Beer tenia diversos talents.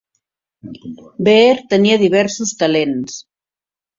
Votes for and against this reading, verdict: 2, 1, accepted